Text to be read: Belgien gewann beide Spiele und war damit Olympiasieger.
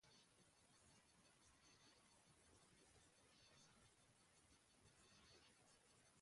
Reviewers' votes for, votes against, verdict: 0, 2, rejected